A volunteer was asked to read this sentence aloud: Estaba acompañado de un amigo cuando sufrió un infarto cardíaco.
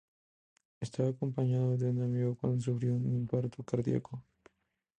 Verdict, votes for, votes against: accepted, 2, 0